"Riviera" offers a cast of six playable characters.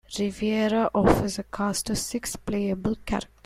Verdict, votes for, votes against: rejected, 0, 2